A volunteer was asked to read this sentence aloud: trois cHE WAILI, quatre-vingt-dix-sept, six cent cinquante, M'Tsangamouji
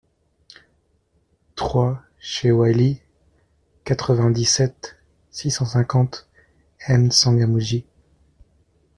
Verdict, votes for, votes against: accepted, 2, 0